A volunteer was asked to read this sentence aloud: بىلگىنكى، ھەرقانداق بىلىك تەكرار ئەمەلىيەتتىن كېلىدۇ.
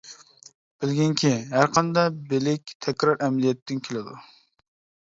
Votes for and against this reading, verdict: 2, 0, accepted